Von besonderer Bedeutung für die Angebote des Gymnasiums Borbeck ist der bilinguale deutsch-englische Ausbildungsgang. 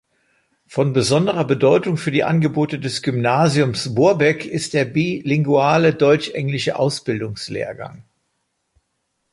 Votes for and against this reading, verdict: 0, 2, rejected